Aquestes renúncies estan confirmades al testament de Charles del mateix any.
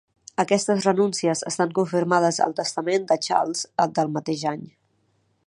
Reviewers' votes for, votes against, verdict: 3, 4, rejected